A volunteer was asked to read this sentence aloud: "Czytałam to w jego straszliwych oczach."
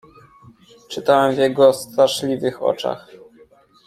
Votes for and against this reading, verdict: 1, 2, rejected